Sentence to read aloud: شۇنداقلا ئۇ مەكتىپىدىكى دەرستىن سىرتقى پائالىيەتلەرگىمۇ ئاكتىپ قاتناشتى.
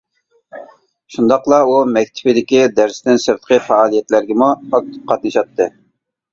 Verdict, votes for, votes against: rejected, 1, 2